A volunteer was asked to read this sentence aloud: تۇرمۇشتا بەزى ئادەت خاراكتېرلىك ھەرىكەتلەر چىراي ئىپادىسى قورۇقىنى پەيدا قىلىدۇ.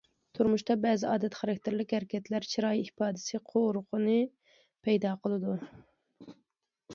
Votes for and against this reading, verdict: 2, 0, accepted